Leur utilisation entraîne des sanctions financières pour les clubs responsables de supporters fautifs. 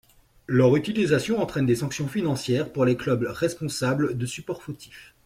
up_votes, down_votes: 1, 2